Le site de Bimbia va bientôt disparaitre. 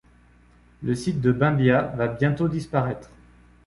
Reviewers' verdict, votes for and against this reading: accepted, 2, 0